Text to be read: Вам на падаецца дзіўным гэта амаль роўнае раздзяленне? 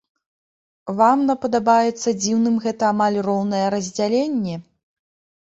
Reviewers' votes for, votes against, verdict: 0, 2, rejected